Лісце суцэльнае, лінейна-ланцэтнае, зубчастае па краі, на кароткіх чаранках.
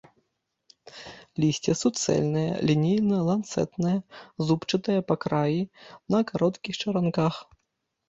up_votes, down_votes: 0, 2